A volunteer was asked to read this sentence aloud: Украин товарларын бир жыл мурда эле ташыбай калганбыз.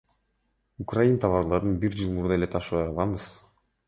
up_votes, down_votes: 2, 0